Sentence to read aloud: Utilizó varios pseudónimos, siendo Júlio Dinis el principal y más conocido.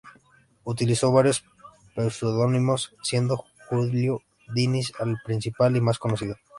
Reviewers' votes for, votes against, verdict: 2, 0, accepted